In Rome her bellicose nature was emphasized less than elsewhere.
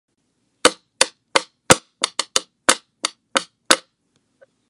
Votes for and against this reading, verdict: 0, 2, rejected